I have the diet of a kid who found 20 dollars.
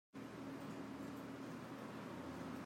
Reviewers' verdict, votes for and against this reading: rejected, 0, 2